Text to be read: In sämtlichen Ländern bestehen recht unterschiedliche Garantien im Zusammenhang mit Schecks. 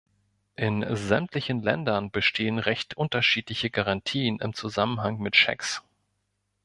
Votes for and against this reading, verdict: 2, 0, accepted